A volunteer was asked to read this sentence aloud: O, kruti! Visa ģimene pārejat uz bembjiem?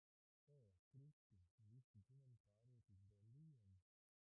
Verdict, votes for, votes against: rejected, 0, 2